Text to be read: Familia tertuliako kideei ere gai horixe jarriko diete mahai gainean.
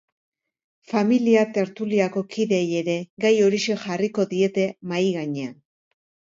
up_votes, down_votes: 2, 0